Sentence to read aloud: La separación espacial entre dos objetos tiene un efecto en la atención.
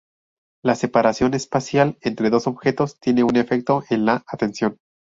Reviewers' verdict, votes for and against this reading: accepted, 2, 0